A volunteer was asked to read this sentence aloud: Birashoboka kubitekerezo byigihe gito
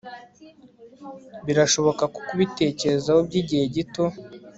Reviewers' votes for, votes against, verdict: 2, 0, accepted